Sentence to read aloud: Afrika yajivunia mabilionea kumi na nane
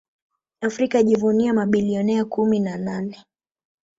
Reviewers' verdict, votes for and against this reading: accepted, 2, 0